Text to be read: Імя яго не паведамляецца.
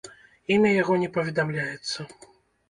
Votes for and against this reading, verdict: 1, 2, rejected